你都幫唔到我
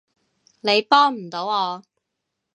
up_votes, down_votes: 0, 2